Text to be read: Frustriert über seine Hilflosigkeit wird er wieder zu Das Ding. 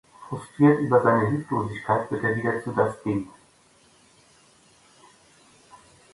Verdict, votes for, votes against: accepted, 2, 0